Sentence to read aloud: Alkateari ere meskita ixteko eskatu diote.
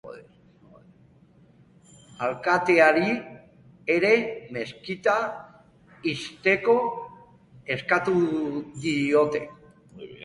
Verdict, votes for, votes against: accepted, 2, 1